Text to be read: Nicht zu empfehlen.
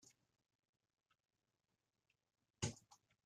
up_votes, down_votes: 0, 2